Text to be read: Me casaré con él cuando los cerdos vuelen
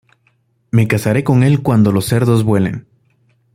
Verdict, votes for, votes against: accepted, 2, 0